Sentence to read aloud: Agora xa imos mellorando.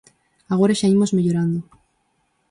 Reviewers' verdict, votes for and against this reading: accepted, 4, 0